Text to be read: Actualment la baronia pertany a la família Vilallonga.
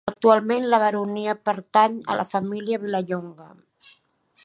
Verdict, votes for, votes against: accepted, 2, 0